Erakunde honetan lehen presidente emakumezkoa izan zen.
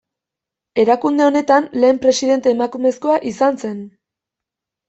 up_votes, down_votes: 2, 0